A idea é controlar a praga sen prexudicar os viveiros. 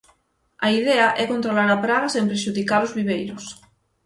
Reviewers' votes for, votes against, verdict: 6, 0, accepted